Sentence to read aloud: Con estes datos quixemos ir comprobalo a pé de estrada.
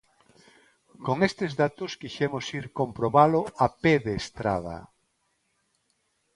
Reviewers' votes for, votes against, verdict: 2, 0, accepted